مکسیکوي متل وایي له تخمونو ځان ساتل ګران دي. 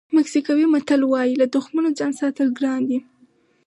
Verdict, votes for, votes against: accepted, 4, 0